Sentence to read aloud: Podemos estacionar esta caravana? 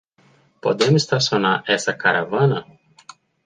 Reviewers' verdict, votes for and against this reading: rejected, 0, 2